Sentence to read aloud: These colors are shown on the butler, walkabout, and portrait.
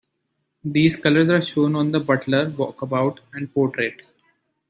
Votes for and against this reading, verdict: 2, 0, accepted